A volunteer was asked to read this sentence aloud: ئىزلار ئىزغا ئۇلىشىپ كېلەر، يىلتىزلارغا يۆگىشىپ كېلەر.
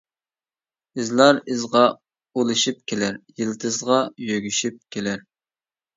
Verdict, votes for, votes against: rejected, 0, 2